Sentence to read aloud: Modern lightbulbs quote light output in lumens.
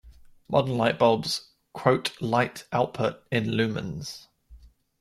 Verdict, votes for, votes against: accepted, 2, 0